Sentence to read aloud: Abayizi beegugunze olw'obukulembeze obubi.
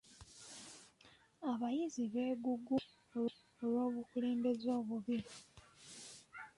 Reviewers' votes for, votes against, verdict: 1, 2, rejected